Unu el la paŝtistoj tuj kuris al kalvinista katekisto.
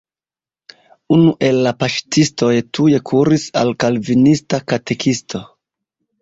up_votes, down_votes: 2, 0